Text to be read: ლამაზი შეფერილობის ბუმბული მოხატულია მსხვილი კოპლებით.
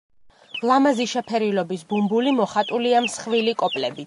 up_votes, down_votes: 0, 2